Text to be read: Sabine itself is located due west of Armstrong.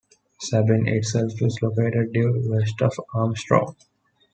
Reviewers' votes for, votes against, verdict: 2, 0, accepted